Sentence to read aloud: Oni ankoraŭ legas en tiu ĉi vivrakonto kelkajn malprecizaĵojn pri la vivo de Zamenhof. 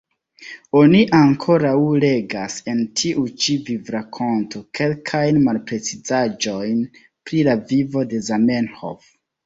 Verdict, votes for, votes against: rejected, 0, 2